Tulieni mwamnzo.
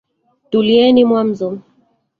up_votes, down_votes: 1, 2